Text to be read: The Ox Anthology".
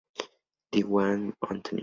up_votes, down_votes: 0, 2